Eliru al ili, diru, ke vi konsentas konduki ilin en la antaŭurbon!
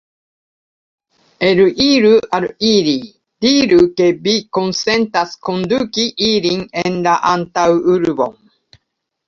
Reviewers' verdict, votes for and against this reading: rejected, 0, 2